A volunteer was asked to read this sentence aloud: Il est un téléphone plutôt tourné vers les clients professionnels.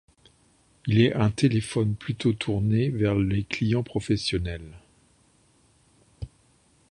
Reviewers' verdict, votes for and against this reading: accepted, 2, 0